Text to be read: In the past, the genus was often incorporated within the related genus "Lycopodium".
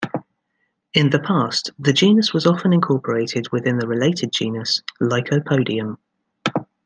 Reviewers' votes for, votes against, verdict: 1, 2, rejected